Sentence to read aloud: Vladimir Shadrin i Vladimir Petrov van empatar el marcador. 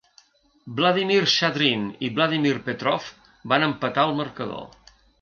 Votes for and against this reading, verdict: 2, 0, accepted